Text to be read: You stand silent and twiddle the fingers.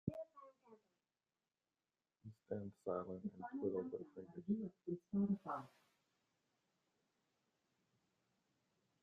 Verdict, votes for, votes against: rejected, 0, 2